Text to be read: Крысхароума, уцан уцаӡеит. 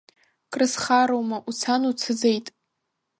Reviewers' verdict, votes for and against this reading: accepted, 3, 0